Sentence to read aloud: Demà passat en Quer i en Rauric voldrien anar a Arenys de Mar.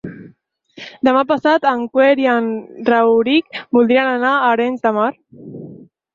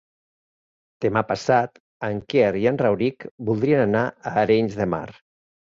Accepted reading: second